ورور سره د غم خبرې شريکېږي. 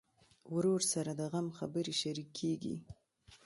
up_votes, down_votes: 1, 2